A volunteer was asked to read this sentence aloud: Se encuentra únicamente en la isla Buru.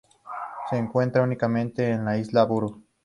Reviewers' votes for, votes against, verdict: 2, 0, accepted